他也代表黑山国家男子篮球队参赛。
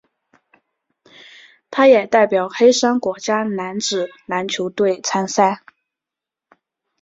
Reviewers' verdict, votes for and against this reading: accepted, 7, 1